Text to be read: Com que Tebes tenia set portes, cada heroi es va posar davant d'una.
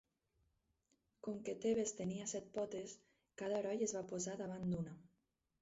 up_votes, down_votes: 2, 4